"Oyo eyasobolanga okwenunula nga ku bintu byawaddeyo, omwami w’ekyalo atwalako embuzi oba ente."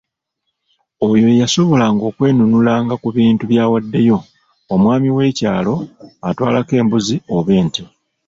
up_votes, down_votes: 1, 2